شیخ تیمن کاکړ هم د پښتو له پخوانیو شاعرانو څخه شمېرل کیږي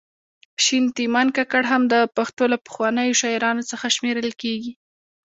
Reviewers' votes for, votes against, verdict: 2, 0, accepted